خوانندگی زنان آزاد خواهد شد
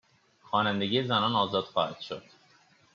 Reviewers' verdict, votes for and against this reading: accepted, 2, 0